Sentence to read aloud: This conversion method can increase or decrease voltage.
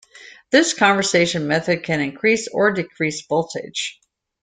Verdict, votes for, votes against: rejected, 0, 2